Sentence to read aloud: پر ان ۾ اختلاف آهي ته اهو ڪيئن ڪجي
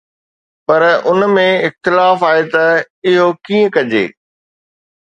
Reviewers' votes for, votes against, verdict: 2, 0, accepted